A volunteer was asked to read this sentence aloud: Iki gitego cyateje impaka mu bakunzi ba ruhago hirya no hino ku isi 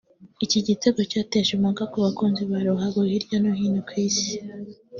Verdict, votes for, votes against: rejected, 0, 2